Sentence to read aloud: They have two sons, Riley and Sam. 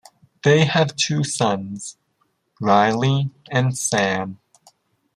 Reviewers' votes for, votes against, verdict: 2, 0, accepted